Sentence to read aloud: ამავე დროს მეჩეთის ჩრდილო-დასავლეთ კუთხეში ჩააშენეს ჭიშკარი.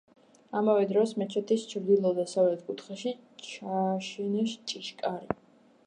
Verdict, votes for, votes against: rejected, 1, 2